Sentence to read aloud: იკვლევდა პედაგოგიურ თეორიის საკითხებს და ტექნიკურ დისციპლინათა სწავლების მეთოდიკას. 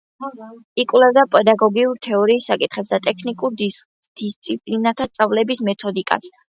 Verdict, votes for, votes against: accepted, 2, 0